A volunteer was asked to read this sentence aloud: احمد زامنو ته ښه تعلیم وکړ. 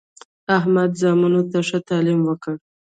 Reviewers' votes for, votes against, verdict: 1, 2, rejected